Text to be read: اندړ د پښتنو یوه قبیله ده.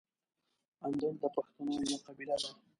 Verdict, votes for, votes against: rejected, 1, 2